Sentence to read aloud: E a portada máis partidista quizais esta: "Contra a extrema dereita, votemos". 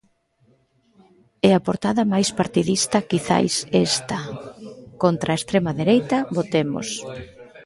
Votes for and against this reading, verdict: 1, 2, rejected